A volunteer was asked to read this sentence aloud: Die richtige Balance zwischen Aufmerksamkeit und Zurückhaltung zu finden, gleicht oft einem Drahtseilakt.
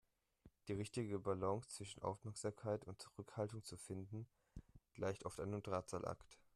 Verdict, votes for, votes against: rejected, 0, 3